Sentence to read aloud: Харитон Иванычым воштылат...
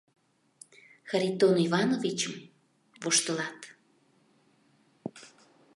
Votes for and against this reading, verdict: 1, 2, rejected